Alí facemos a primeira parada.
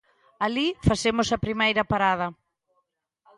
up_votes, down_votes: 3, 0